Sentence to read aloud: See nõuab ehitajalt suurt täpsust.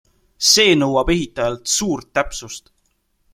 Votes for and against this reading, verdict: 2, 0, accepted